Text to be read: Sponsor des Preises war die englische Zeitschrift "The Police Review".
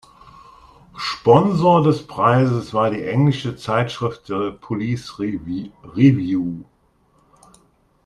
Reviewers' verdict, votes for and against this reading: rejected, 0, 2